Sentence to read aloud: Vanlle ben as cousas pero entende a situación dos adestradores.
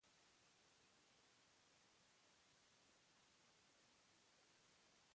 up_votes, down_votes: 0, 2